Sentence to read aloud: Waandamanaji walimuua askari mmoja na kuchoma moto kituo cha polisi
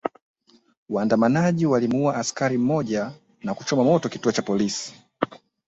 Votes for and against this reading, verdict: 0, 2, rejected